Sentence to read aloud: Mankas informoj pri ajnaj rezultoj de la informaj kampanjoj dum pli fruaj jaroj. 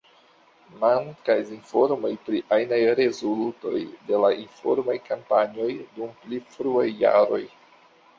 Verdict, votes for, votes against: accepted, 2, 1